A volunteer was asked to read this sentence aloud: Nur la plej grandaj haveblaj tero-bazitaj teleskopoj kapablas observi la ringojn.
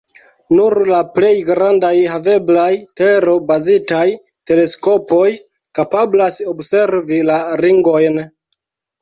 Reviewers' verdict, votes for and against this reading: accepted, 3, 0